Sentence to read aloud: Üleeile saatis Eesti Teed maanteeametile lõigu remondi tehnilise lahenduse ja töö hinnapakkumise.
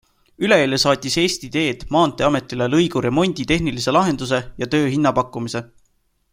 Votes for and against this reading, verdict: 2, 0, accepted